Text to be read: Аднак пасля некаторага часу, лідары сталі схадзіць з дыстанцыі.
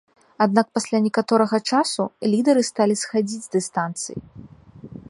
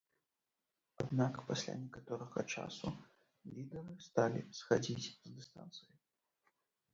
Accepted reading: first